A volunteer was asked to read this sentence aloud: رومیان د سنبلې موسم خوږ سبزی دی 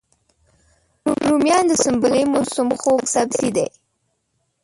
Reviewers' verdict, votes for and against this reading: rejected, 1, 2